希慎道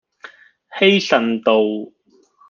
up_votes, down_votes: 2, 0